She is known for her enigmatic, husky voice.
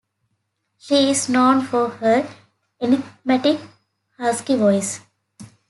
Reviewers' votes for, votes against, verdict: 2, 0, accepted